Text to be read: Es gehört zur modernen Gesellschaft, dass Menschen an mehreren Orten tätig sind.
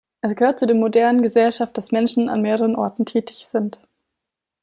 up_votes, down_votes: 1, 2